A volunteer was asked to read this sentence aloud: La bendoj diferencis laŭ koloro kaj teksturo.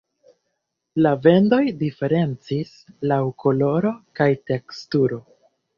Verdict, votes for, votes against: rejected, 1, 2